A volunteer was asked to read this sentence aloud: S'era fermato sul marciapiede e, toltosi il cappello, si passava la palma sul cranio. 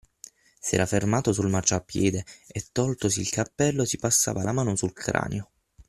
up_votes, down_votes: 6, 9